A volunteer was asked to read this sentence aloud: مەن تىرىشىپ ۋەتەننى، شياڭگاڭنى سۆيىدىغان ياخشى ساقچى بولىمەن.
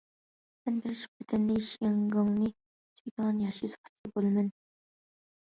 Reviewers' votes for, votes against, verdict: 1, 2, rejected